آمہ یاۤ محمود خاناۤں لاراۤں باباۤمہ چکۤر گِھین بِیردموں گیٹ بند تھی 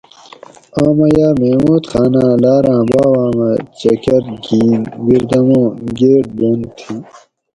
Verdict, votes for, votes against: accepted, 4, 0